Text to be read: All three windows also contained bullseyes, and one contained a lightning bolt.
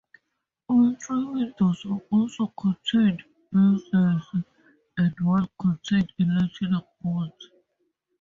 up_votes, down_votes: 0, 2